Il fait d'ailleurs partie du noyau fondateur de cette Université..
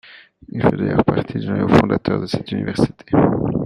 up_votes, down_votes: 1, 2